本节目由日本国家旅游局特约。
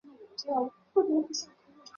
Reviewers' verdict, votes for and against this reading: rejected, 0, 2